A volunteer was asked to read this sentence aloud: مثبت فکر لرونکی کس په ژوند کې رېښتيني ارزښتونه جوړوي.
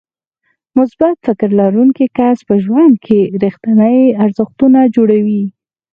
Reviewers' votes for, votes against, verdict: 4, 2, accepted